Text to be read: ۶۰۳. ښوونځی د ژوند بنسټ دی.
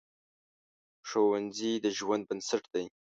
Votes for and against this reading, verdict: 0, 2, rejected